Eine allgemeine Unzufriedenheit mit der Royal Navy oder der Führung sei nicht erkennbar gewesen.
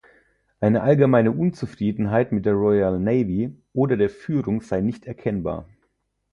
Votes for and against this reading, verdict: 0, 4, rejected